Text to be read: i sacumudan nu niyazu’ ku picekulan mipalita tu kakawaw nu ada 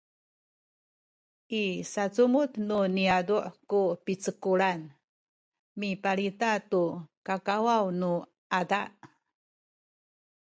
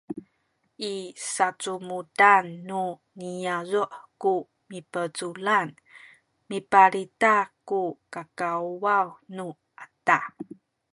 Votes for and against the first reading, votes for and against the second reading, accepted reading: 2, 1, 1, 2, first